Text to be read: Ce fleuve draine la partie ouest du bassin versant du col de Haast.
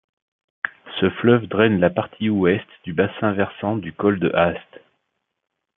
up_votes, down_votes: 0, 2